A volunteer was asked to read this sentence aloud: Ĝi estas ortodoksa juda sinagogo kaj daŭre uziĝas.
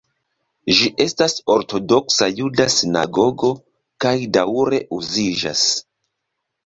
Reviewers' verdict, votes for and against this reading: rejected, 1, 2